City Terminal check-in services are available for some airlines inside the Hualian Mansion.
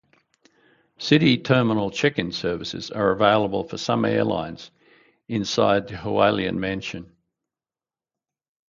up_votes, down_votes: 2, 0